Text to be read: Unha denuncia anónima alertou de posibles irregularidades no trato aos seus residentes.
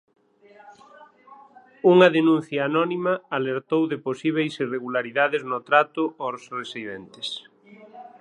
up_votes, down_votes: 3, 6